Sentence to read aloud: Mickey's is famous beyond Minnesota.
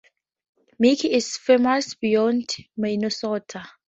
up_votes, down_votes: 0, 4